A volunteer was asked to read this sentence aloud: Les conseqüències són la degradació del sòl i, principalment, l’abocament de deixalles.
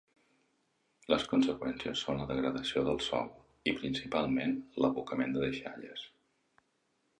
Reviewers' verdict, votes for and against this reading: rejected, 1, 2